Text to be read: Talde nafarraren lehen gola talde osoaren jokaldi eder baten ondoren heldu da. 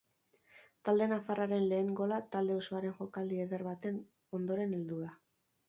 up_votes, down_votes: 4, 0